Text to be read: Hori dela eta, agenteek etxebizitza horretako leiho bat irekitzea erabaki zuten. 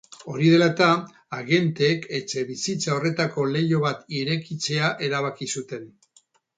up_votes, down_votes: 2, 0